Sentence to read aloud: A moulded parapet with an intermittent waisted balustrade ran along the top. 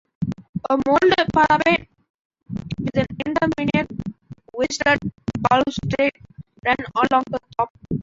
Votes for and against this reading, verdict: 0, 2, rejected